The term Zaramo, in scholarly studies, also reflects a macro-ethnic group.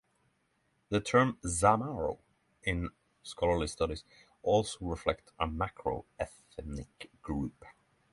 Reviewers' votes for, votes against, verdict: 3, 3, rejected